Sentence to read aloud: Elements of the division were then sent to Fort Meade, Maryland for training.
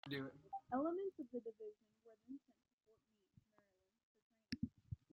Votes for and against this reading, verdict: 0, 2, rejected